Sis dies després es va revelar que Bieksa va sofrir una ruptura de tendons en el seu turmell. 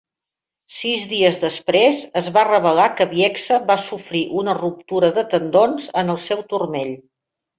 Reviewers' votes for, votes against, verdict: 2, 0, accepted